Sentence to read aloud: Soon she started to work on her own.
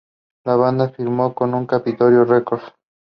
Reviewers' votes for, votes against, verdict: 0, 2, rejected